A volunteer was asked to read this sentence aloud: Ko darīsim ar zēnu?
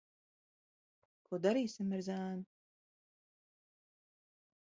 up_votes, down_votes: 0, 2